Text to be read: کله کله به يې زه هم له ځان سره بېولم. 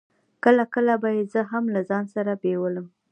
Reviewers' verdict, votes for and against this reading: accepted, 2, 0